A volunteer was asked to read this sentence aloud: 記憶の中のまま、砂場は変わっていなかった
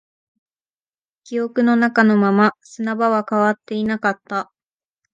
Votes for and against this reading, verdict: 2, 0, accepted